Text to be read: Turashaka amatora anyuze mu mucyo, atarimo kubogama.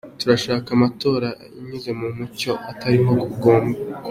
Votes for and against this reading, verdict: 2, 1, accepted